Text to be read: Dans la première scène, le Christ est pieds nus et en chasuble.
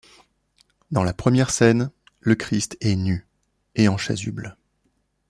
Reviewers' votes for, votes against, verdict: 0, 2, rejected